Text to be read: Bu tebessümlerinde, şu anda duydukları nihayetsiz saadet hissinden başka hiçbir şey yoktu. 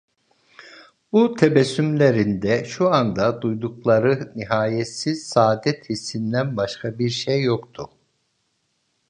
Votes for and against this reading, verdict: 0, 2, rejected